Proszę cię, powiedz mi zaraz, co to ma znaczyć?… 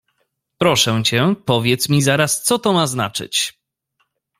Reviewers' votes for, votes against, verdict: 2, 0, accepted